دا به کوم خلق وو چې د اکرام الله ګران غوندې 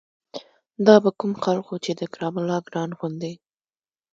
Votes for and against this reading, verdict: 1, 2, rejected